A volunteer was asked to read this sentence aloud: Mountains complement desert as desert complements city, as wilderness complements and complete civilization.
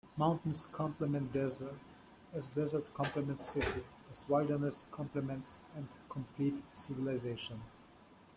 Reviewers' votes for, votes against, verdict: 2, 0, accepted